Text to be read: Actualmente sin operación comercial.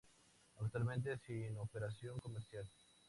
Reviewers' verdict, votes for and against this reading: accepted, 2, 0